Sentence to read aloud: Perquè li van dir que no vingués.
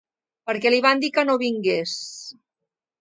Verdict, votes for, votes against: accepted, 2, 0